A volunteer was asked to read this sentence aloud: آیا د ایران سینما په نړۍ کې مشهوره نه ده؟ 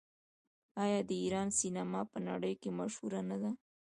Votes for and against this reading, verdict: 0, 2, rejected